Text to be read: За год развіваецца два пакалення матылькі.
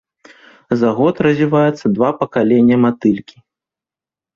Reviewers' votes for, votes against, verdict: 1, 2, rejected